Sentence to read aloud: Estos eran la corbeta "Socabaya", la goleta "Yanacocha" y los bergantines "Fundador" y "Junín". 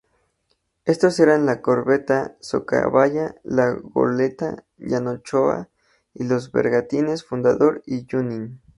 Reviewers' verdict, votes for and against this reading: rejected, 2, 2